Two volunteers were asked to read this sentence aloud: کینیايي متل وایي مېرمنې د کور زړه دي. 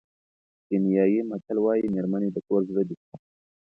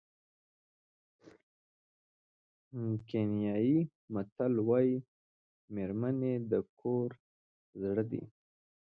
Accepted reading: first